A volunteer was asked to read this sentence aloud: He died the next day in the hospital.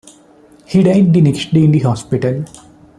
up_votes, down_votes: 2, 1